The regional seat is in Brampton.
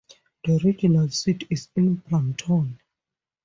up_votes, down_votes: 2, 2